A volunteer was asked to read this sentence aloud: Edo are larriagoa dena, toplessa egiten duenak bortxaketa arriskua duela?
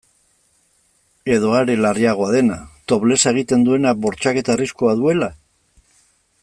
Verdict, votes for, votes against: accepted, 2, 0